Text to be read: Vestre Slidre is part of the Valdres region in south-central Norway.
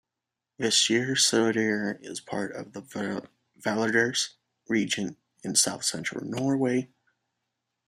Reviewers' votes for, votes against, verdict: 0, 2, rejected